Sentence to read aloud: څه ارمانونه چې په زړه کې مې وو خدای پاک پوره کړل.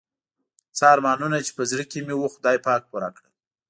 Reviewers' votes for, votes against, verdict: 2, 0, accepted